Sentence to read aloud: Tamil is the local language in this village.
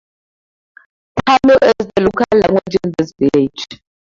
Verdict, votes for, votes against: accepted, 2, 0